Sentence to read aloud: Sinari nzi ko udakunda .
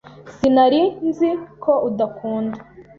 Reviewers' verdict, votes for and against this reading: accepted, 2, 0